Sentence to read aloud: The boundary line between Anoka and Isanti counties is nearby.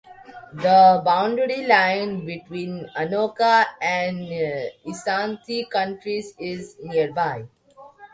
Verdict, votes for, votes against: rejected, 1, 2